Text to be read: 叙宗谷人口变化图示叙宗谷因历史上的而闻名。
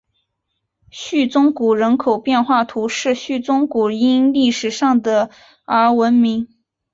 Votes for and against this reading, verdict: 4, 1, accepted